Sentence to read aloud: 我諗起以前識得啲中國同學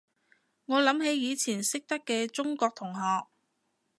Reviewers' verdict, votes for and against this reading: rejected, 0, 2